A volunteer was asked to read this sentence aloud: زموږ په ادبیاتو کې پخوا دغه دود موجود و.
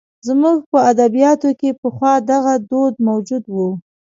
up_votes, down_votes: 2, 0